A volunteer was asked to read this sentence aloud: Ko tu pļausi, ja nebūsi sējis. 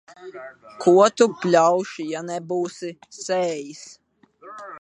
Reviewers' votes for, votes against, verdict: 0, 2, rejected